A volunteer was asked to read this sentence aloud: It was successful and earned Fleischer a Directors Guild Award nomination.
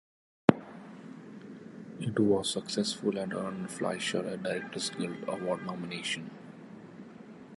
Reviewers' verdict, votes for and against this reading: accepted, 2, 0